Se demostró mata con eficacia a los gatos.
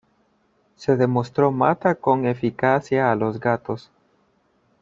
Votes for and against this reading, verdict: 2, 0, accepted